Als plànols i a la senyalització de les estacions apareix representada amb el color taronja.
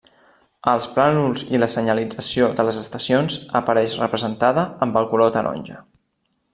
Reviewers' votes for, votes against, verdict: 1, 2, rejected